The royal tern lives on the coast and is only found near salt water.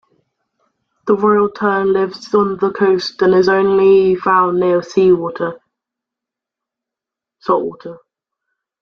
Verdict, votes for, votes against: rejected, 0, 2